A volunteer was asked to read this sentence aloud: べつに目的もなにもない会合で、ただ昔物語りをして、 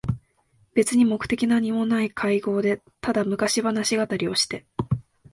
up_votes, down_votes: 0, 2